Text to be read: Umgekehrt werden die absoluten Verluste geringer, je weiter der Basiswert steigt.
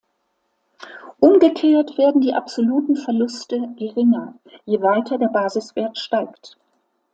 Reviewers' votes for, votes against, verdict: 2, 0, accepted